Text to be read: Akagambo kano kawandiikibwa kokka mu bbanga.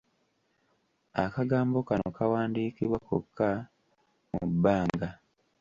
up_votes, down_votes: 2, 0